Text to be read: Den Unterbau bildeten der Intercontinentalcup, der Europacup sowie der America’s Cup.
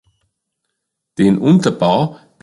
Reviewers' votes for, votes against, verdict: 0, 2, rejected